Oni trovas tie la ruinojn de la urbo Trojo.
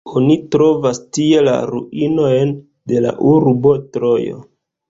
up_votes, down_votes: 2, 1